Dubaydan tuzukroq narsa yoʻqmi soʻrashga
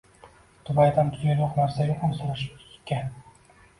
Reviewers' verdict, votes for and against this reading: rejected, 1, 2